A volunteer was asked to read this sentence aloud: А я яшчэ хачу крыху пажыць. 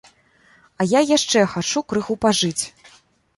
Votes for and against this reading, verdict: 2, 0, accepted